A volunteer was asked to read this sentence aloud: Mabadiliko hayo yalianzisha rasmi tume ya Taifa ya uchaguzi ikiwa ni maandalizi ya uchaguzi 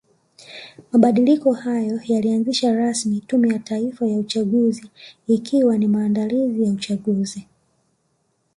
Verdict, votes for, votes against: accepted, 2, 0